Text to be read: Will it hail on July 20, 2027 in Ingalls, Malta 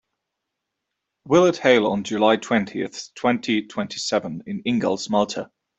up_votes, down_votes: 0, 2